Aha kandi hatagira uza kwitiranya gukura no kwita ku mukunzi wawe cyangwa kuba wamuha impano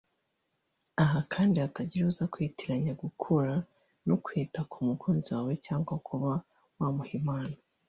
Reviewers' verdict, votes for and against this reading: rejected, 1, 2